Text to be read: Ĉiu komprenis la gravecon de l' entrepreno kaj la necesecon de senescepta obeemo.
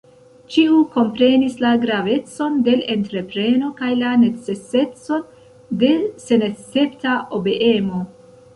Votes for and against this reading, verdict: 0, 2, rejected